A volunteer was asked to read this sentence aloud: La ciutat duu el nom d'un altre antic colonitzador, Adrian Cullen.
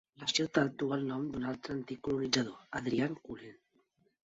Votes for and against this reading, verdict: 2, 1, accepted